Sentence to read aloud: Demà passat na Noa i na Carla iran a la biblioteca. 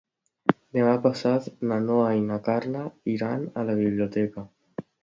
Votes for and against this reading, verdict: 2, 0, accepted